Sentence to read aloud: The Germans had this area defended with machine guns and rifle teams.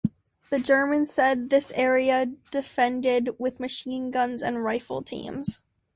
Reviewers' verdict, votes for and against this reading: accepted, 3, 1